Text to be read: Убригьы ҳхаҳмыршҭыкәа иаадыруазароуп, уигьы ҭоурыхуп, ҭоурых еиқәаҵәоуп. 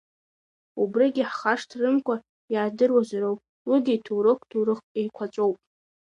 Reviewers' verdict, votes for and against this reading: rejected, 0, 2